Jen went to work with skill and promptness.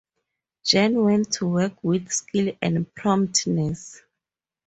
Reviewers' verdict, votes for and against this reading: accepted, 2, 0